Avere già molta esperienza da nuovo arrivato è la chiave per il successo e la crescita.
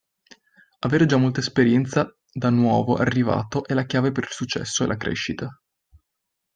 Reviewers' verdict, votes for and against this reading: accepted, 2, 0